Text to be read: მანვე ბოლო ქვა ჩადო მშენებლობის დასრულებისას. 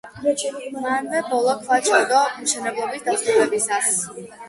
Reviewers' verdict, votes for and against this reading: rejected, 1, 2